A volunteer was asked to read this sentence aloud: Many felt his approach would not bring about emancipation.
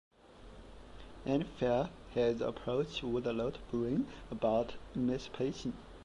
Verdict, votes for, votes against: rejected, 0, 2